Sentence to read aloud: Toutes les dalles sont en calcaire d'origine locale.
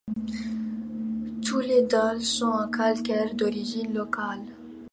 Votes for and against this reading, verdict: 1, 2, rejected